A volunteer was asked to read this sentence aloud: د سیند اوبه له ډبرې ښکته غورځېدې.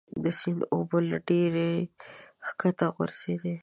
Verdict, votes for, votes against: rejected, 0, 2